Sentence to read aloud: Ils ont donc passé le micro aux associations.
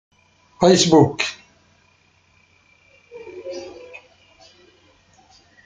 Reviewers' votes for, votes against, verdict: 0, 2, rejected